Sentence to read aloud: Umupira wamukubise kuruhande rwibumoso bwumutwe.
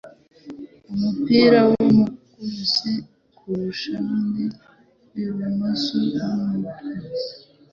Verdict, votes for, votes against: rejected, 1, 2